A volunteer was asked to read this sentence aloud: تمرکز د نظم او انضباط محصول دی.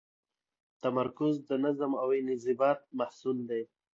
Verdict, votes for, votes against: accepted, 3, 0